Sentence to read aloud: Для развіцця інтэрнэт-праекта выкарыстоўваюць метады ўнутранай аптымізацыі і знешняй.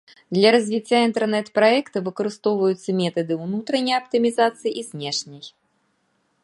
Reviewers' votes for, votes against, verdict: 1, 2, rejected